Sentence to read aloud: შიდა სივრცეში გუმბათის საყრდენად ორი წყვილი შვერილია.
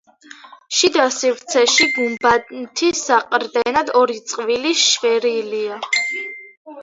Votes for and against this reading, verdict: 2, 1, accepted